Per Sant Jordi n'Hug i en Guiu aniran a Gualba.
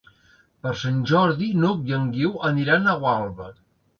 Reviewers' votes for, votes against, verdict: 2, 0, accepted